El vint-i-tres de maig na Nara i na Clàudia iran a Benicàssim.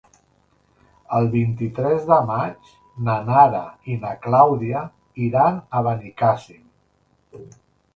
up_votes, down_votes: 3, 0